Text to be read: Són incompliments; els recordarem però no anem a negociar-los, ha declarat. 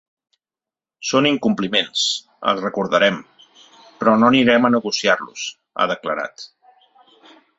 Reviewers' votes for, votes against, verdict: 1, 2, rejected